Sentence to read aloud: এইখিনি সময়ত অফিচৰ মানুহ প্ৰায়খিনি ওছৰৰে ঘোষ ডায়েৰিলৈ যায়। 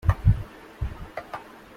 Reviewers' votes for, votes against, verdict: 0, 2, rejected